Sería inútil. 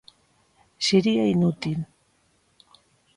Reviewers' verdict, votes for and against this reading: accepted, 2, 0